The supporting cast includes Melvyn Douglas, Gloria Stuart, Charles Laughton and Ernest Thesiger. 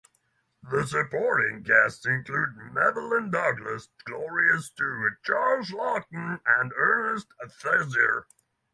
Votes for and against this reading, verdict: 0, 6, rejected